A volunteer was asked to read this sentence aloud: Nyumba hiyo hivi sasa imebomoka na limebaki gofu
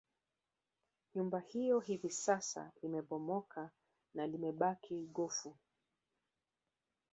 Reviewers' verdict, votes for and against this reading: rejected, 1, 2